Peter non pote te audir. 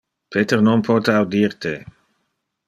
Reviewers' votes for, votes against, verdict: 0, 2, rejected